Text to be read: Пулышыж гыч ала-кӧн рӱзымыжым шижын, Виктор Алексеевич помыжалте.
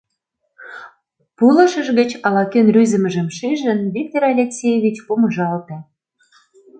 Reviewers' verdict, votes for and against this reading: accepted, 2, 0